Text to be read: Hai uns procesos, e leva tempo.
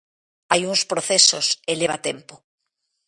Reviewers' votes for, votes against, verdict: 2, 0, accepted